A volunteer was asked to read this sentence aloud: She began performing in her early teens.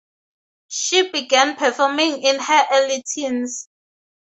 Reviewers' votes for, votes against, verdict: 2, 0, accepted